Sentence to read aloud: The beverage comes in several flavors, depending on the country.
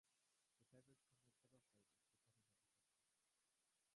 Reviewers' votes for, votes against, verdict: 0, 2, rejected